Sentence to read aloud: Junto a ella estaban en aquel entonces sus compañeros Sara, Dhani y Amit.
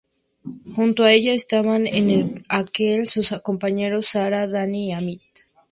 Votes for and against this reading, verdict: 0, 2, rejected